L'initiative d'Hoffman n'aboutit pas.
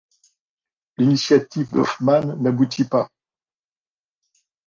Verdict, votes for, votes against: accepted, 2, 0